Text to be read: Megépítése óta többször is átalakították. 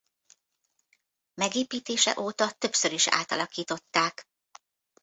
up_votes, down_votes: 1, 2